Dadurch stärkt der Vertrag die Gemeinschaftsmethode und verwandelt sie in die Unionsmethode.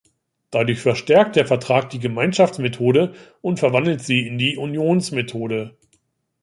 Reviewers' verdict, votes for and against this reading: rejected, 0, 2